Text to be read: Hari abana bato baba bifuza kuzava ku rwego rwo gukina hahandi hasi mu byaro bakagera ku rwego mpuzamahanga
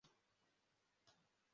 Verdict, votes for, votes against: rejected, 0, 2